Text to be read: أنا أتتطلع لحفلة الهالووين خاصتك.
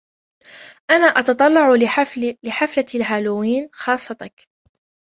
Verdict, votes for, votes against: rejected, 0, 2